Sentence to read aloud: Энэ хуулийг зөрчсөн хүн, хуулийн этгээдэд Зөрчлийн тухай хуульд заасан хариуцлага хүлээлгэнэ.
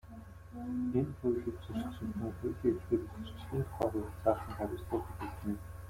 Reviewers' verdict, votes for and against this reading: rejected, 0, 2